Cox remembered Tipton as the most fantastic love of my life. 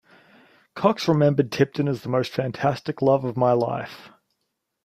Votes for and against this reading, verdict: 2, 0, accepted